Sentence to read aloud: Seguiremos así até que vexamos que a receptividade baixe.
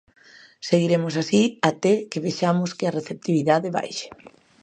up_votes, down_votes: 2, 0